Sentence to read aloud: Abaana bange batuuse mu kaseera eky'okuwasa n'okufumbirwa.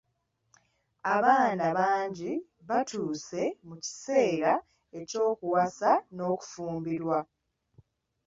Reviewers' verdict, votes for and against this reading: rejected, 1, 2